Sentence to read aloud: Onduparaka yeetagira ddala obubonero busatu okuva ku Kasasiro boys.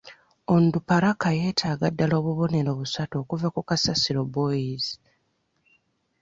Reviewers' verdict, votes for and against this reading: rejected, 1, 2